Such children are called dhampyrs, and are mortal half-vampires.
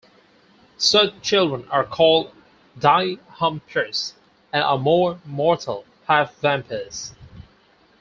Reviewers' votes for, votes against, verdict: 0, 4, rejected